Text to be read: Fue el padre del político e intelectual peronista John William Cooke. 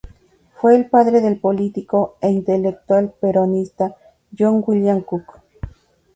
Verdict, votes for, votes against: rejected, 0, 2